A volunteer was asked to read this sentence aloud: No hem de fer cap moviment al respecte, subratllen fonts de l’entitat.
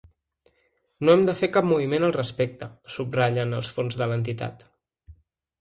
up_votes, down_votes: 0, 2